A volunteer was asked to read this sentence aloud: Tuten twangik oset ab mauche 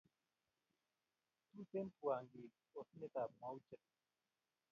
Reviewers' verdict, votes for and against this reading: rejected, 0, 2